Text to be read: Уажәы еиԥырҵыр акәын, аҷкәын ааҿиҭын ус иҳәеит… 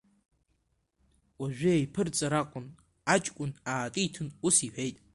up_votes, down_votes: 1, 2